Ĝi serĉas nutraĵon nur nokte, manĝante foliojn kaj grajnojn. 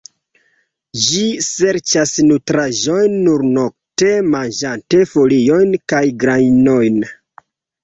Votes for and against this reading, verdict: 1, 3, rejected